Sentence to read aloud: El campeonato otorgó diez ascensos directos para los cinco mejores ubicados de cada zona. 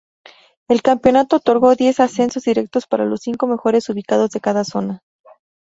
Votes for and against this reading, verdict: 2, 2, rejected